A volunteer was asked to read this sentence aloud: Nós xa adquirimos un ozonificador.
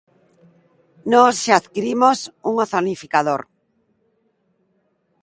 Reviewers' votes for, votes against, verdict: 1, 2, rejected